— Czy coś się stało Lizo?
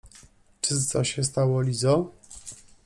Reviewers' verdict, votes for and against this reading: rejected, 1, 2